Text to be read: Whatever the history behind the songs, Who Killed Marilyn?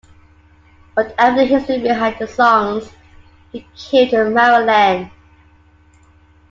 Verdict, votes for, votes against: rejected, 0, 2